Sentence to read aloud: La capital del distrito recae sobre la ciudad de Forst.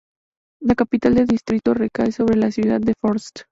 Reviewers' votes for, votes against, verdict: 2, 0, accepted